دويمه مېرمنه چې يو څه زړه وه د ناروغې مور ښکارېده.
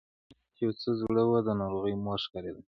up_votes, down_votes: 2, 0